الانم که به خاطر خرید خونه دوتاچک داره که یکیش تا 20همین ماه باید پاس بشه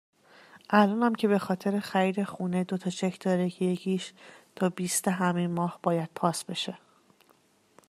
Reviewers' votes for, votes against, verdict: 0, 2, rejected